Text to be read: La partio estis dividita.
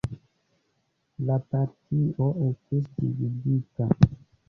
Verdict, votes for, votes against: rejected, 1, 2